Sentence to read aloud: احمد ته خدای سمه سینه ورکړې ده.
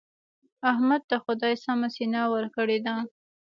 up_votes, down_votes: 1, 2